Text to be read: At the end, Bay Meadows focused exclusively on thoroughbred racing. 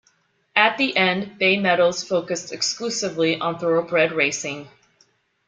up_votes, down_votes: 2, 0